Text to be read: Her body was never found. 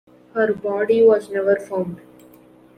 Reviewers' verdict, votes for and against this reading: accepted, 2, 0